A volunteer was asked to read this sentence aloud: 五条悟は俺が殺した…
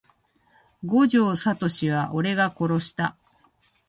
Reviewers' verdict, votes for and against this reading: rejected, 1, 2